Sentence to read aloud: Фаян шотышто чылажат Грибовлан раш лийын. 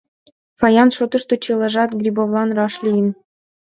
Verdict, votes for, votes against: accepted, 2, 0